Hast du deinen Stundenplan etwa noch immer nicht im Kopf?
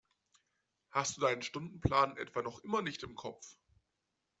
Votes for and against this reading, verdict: 2, 0, accepted